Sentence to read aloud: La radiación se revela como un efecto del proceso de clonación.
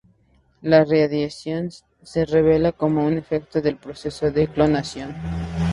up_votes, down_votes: 0, 2